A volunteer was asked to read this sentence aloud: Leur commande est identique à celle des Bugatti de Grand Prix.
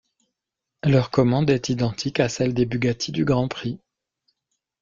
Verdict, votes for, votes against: rejected, 1, 2